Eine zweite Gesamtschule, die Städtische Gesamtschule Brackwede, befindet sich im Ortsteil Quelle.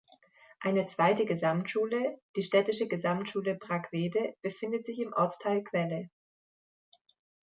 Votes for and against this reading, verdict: 2, 0, accepted